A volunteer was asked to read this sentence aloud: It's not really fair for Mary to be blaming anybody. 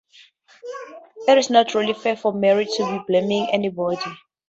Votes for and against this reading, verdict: 2, 0, accepted